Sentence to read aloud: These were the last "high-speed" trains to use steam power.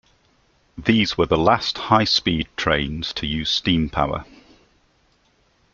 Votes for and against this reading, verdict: 2, 0, accepted